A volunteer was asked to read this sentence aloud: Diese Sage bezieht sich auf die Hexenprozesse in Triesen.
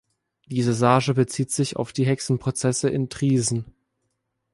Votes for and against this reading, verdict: 0, 2, rejected